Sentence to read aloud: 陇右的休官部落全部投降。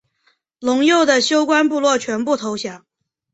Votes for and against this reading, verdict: 2, 0, accepted